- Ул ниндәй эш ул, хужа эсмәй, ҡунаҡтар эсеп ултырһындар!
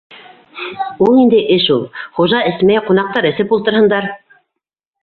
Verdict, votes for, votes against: rejected, 1, 2